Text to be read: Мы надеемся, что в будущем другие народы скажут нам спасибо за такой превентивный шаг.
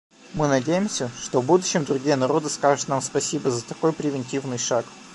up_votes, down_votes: 2, 1